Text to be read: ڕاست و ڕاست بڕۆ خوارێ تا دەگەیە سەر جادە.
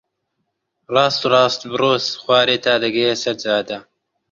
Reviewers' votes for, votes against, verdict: 0, 2, rejected